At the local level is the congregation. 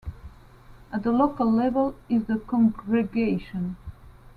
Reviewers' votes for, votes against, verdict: 2, 0, accepted